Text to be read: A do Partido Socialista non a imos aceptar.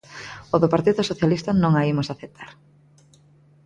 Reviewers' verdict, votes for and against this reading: accepted, 2, 1